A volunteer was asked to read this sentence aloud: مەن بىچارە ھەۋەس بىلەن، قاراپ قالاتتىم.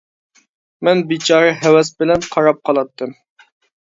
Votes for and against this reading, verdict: 2, 0, accepted